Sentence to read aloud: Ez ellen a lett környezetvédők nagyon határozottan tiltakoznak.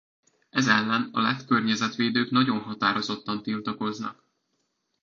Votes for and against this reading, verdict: 2, 0, accepted